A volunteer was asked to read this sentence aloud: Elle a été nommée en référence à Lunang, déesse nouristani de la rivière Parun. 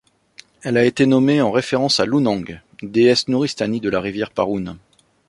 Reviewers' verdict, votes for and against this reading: rejected, 1, 2